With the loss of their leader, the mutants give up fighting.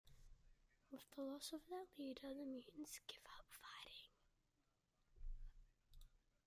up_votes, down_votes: 0, 2